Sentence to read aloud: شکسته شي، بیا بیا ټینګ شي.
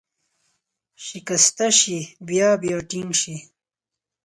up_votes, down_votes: 4, 0